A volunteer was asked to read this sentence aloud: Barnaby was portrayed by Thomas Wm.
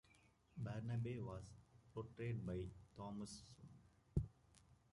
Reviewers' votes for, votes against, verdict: 0, 2, rejected